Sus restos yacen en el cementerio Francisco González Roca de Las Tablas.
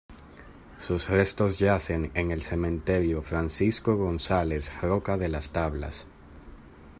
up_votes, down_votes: 1, 2